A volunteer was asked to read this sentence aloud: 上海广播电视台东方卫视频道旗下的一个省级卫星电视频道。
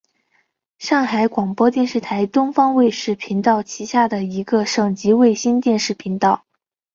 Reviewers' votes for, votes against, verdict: 4, 0, accepted